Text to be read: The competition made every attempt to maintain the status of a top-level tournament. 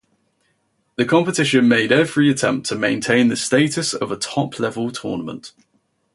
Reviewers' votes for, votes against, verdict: 2, 0, accepted